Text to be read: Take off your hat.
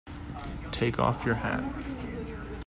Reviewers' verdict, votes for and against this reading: accepted, 2, 0